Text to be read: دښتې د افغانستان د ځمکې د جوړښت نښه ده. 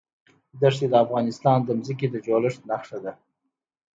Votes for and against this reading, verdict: 2, 0, accepted